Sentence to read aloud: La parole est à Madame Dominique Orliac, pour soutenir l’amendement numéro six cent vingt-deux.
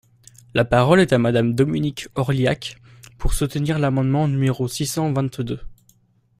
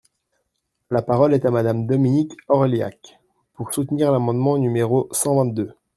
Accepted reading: first